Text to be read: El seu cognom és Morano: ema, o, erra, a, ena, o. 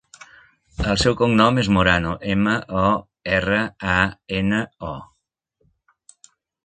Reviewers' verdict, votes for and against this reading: accepted, 3, 0